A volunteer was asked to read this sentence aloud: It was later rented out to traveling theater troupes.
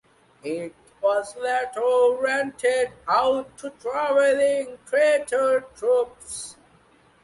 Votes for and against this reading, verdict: 0, 2, rejected